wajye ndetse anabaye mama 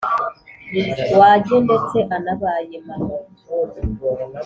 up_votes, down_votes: 2, 0